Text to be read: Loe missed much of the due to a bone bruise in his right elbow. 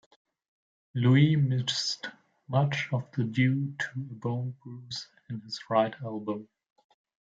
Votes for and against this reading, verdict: 0, 2, rejected